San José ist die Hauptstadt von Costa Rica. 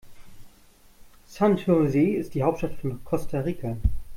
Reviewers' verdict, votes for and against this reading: rejected, 1, 2